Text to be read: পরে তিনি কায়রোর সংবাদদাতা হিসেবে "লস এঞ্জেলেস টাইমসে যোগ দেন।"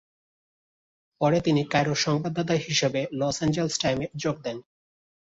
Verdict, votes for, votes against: accepted, 2, 1